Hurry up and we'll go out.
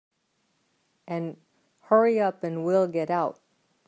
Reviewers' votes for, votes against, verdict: 0, 4, rejected